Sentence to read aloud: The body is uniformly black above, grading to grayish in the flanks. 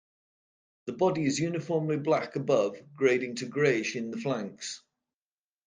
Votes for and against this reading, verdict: 2, 0, accepted